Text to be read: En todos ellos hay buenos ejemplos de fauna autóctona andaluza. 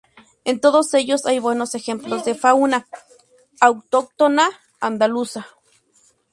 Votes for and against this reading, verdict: 4, 0, accepted